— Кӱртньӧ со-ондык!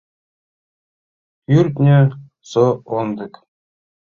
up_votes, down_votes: 1, 2